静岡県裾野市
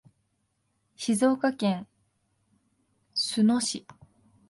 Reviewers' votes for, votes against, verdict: 0, 2, rejected